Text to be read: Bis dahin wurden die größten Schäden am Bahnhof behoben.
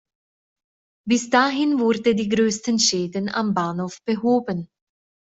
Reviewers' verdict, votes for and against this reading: rejected, 1, 2